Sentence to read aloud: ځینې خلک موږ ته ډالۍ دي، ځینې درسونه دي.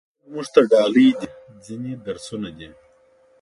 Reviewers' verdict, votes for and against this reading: rejected, 0, 2